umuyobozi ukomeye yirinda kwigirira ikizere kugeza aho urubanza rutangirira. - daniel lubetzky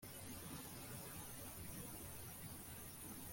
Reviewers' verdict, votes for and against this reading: rejected, 0, 2